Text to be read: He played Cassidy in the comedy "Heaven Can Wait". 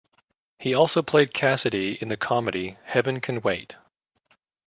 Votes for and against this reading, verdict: 1, 2, rejected